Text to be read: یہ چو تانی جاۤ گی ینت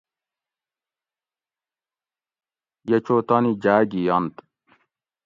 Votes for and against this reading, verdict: 2, 0, accepted